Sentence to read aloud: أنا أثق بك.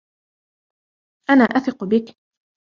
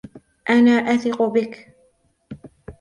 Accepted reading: second